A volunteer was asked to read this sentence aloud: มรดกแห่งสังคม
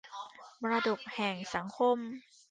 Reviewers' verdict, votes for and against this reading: accepted, 2, 1